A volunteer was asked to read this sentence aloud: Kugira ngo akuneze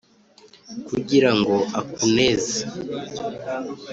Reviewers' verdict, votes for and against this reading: accepted, 2, 0